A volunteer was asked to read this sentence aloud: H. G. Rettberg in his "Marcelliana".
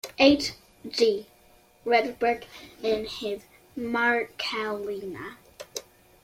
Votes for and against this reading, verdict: 2, 1, accepted